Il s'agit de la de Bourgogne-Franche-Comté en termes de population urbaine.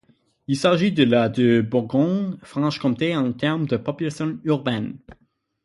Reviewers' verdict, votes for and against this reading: rejected, 0, 6